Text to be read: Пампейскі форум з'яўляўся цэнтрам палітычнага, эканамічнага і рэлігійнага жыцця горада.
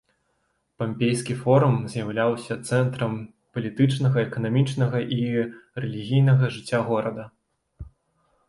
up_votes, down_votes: 2, 0